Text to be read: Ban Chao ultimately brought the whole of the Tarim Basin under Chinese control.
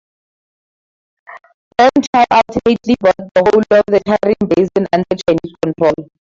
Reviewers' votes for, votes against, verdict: 2, 0, accepted